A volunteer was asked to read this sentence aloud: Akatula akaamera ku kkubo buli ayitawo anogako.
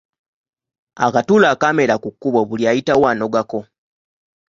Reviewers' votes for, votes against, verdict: 2, 0, accepted